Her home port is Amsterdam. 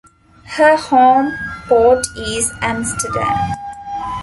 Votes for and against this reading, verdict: 2, 0, accepted